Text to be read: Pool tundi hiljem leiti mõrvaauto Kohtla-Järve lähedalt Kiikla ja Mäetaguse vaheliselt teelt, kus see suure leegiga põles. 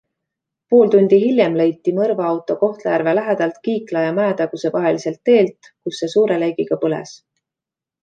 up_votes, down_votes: 2, 0